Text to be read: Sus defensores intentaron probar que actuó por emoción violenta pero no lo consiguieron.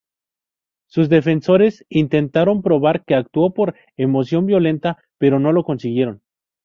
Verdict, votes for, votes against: accepted, 2, 0